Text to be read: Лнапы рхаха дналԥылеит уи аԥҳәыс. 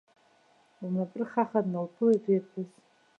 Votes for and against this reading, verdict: 1, 2, rejected